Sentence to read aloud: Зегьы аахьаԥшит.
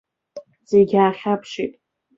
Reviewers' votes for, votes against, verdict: 2, 0, accepted